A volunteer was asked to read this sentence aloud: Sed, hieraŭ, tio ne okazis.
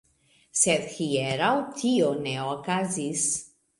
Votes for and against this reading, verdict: 2, 0, accepted